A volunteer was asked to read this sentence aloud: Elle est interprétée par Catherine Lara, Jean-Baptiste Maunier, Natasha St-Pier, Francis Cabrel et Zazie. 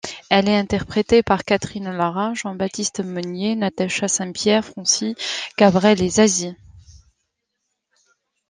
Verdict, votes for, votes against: rejected, 0, 2